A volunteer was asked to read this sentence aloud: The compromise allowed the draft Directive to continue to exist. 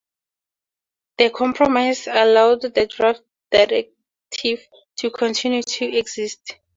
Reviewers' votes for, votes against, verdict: 4, 0, accepted